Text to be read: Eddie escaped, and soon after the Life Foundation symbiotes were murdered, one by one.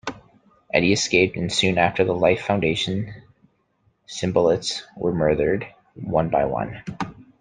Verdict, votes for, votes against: rejected, 0, 2